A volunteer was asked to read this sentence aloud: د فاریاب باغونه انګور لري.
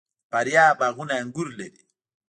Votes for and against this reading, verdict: 0, 2, rejected